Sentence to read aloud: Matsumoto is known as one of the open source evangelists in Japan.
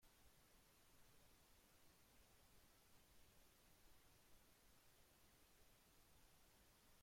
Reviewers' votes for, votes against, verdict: 0, 2, rejected